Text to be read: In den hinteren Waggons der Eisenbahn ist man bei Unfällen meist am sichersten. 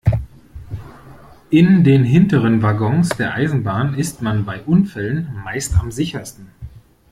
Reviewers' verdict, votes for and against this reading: rejected, 1, 2